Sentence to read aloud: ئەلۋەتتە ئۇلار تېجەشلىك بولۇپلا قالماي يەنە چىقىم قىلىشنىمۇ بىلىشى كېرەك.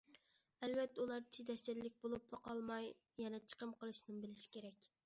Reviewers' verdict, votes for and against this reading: rejected, 0, 2